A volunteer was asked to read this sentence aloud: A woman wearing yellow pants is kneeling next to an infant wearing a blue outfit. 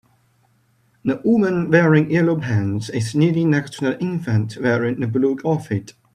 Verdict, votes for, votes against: rejected, 0, 2